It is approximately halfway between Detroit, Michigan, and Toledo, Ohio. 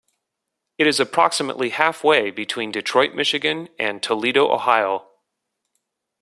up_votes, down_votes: 2, 0